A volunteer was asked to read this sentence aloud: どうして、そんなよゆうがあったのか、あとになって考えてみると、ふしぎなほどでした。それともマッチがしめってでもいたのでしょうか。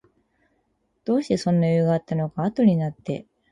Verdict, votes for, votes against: rejected, 2, 6